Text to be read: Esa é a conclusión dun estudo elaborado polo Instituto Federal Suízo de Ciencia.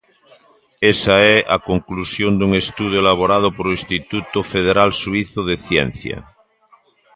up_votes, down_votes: 1, 2